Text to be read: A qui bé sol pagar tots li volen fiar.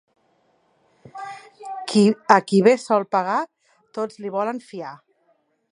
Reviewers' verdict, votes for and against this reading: rejected, 1, 2